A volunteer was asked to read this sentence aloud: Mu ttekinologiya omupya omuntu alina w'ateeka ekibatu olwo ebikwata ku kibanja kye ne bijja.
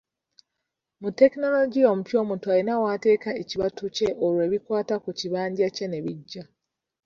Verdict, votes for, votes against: rejected, 1, 2